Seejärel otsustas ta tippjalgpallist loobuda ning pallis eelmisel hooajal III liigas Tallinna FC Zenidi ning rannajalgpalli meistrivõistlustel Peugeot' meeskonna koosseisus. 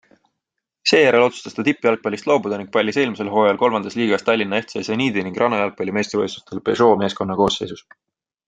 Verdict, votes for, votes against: accepted, 3, 0